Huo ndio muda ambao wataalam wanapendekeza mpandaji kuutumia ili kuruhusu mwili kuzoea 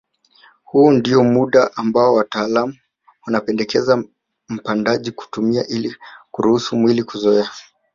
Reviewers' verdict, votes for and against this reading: accepted, 2, 0